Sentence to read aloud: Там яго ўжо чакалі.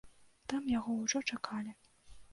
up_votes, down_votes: 2, 0